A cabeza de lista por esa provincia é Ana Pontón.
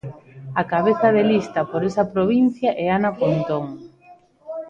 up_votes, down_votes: 1, 2